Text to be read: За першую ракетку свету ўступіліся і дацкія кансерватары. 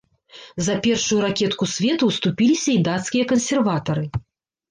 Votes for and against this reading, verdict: 0, 2, rejected